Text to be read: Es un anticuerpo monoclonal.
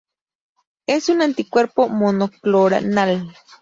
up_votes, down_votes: 0, 2